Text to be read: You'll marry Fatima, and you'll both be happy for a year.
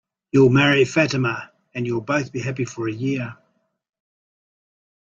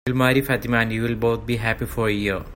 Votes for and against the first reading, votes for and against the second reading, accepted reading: 3, 0, 1, 2, first